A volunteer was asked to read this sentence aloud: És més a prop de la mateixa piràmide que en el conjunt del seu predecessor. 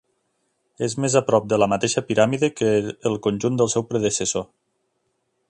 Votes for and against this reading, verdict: 0, 2, rejected